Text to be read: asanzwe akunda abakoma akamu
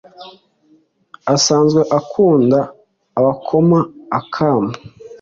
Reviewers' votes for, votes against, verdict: 2, 0, accepted